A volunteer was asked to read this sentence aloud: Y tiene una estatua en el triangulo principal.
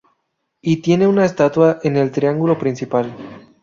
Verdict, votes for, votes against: rejected, 2, 2